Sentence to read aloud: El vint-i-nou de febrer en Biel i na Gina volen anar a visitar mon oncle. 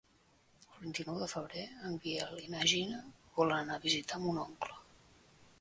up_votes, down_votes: 2, 1